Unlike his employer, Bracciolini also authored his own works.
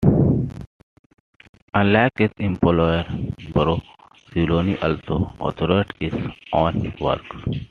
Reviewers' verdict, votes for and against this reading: rejected, 0, 2